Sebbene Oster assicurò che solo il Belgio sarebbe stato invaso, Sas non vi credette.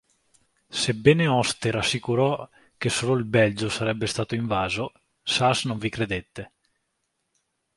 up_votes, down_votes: 2, 0